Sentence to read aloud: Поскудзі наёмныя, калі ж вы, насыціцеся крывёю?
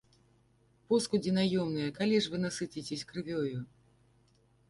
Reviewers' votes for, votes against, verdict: 0, 2, rejected